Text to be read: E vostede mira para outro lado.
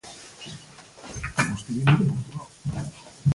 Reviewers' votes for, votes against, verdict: 0, 2, rejected